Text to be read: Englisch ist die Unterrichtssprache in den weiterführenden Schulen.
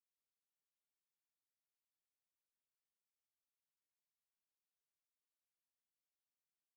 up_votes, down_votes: 0, 2